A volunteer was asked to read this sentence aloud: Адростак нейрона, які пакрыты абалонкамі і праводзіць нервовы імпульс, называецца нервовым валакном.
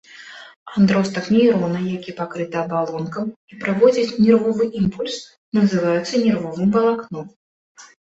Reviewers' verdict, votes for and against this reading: rejected, 1, 2